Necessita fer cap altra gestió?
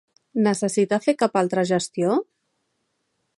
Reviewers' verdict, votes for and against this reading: accepted, 3, 0